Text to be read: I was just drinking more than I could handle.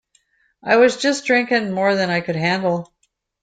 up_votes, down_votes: 2, 0